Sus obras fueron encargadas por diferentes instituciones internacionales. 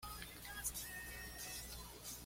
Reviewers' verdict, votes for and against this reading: rejected, 1, 2